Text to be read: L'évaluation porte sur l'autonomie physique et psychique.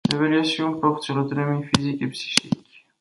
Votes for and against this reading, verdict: 1, 2, rejected